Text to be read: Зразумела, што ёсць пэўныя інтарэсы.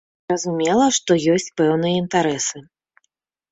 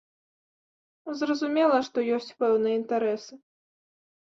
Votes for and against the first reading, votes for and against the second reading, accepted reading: 0, 2, 2, 0, second